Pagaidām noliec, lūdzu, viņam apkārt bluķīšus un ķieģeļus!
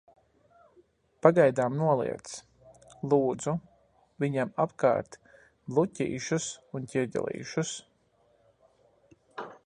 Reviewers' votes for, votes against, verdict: 0, 2, rejected